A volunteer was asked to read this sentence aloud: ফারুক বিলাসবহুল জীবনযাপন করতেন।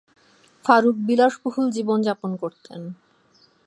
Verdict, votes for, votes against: accepted, 2, 0